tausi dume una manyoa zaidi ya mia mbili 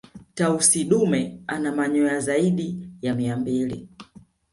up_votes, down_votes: 1, 2